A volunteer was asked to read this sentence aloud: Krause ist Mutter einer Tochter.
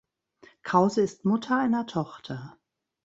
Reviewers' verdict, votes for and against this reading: accepted, 2, 0